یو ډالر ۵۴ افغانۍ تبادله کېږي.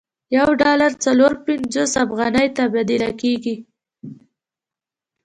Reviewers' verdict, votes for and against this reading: rejected, 0, 2